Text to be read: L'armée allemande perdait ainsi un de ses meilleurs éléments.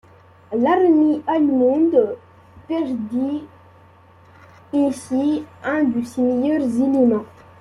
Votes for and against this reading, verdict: 0, 2, rejected